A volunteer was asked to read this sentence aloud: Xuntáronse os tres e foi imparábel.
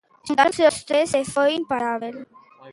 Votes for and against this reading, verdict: 0, 2, rejected